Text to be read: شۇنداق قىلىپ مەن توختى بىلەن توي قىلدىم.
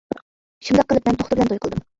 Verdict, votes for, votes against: rejected, 0, 2